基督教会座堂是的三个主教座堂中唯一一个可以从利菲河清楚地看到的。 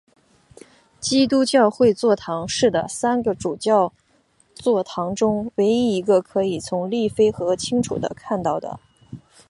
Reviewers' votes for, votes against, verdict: 2, 1, accepted